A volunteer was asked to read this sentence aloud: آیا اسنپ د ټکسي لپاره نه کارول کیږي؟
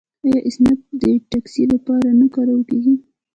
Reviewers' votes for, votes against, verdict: 1, 2, rejected